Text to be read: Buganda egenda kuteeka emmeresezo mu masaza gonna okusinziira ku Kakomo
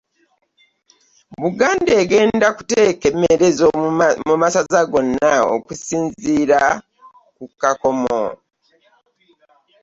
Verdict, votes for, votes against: rejected, 1, 2